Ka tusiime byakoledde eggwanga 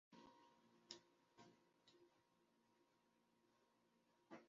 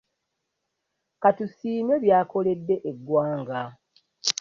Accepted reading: second